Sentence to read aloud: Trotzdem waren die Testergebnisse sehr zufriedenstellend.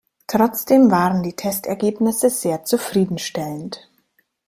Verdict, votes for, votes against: rejected, 1, 2